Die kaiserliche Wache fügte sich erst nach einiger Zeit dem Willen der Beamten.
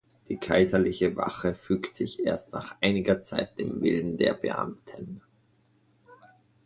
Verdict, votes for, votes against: rejected, 0, 2